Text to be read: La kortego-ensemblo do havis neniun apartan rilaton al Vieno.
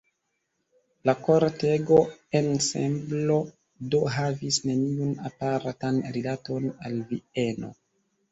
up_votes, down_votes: 2, 1